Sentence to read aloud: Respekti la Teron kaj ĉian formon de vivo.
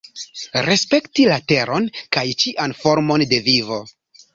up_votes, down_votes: 2, 0